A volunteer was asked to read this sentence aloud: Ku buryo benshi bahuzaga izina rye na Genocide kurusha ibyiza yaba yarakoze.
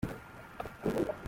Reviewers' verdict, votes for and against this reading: rejected, 0, 2